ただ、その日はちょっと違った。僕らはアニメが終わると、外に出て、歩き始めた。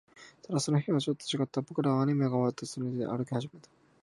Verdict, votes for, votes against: rejected, 0, 2